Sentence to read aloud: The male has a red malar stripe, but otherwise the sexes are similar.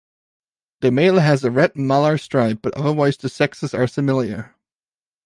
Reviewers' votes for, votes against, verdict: 0, 2, rejected